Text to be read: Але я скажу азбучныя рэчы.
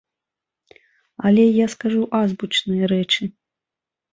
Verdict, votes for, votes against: accepted, 2, 0